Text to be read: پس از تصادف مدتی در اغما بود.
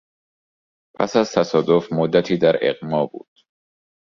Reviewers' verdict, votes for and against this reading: accepted, 2, 0